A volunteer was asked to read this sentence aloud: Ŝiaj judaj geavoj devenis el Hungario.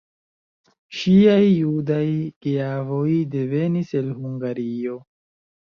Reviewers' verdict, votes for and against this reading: accepted, 2, 0